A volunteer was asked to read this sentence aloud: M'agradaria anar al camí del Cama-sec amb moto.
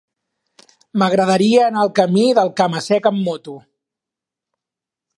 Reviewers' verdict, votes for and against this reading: accepted, 3, 0